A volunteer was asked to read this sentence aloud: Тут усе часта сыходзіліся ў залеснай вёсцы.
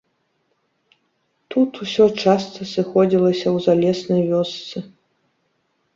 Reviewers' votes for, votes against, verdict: 1, 2, rejected